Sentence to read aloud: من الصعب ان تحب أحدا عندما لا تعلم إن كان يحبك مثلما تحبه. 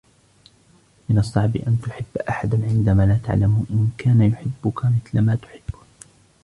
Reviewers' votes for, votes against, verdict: 1, 2, rejected